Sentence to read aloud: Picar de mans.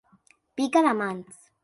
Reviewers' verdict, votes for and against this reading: rejected, 1, 2